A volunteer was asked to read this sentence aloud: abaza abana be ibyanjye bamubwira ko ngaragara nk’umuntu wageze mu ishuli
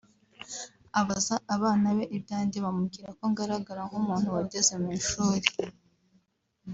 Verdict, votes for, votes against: accepted, 2, 1